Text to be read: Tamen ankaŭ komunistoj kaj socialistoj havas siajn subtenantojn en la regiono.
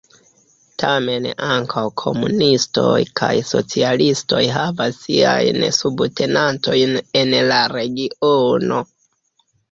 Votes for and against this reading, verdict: 0, 2, rejected